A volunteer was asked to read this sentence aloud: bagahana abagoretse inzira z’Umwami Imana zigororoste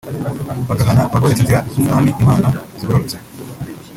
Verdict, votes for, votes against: rejected, 1, 2